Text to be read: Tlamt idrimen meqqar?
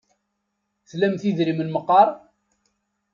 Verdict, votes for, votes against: accepted, 2, 0